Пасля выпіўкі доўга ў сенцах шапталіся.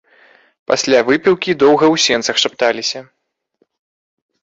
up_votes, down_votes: 2, 0